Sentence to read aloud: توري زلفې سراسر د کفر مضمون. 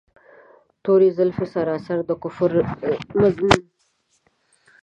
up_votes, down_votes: 1, 2